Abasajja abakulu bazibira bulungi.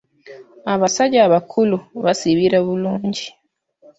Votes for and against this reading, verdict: 2, 0, accepted